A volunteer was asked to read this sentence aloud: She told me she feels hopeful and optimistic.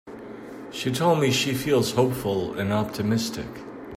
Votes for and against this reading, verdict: 1, 2, rejected